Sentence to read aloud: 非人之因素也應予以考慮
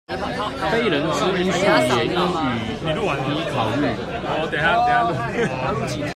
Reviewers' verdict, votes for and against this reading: rejected, 1, 2